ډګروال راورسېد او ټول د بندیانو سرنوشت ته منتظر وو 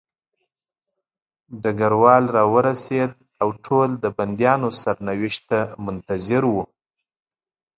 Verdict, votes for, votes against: accepted, 2, 0